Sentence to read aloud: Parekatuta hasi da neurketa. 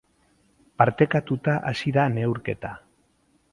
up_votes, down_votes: 2, 4